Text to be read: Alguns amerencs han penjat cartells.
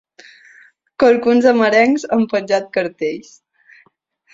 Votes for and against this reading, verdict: 6, 0, accepted